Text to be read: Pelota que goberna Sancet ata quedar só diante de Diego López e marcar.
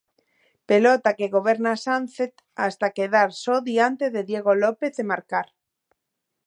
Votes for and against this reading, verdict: 0, 2, rejected